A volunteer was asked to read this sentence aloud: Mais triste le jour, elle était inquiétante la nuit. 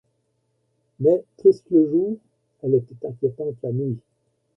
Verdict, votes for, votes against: rejected, 0, 2